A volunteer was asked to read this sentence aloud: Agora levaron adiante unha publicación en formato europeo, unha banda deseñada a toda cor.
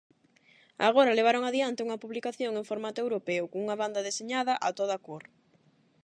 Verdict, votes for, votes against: rejected, 4, 4